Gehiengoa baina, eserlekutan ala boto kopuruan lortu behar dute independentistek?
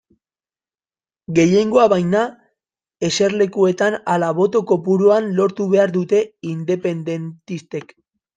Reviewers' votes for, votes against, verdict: 1, 2, rejected